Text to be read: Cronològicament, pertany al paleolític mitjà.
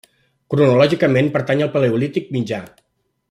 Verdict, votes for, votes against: rejected, 0, 2